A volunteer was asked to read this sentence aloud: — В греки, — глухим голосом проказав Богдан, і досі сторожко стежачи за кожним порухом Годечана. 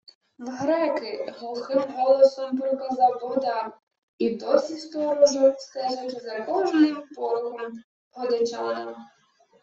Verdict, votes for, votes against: rejected, 0, 2